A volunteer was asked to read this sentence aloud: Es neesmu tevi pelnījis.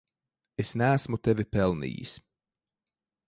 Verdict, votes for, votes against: accepted, 2, 0